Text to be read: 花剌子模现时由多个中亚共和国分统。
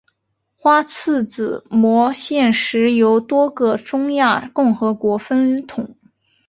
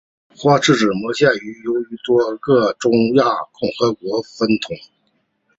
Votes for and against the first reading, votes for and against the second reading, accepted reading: 2, 0, 0, 2, first